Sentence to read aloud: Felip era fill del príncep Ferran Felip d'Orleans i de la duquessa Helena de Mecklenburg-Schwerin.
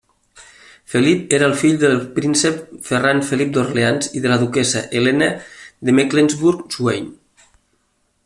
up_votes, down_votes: 1, 2